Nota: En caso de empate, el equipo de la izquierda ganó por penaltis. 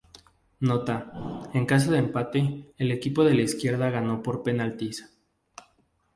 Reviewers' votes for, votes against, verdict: 0, 2, rejected